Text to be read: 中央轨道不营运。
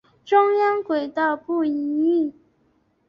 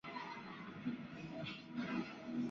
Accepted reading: first